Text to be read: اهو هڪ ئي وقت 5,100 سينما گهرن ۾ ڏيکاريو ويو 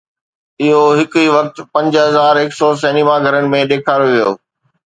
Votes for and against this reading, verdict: 0, 2, rejected